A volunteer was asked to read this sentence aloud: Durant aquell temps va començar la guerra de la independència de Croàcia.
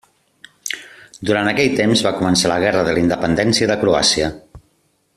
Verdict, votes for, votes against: accepted, 2, 0